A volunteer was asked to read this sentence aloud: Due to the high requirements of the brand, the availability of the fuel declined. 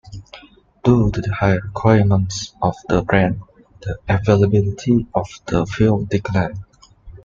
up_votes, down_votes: 2, 0